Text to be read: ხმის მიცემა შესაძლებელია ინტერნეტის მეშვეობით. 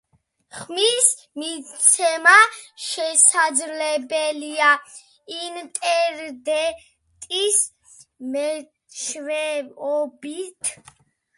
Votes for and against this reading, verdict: 2, 1, accepted